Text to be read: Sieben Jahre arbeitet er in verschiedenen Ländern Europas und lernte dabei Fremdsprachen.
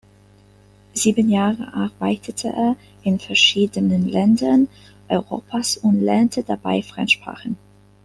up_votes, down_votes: 0, 2